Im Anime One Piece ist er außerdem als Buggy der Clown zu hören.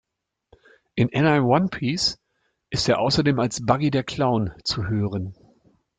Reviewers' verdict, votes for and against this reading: rejected, 1, 2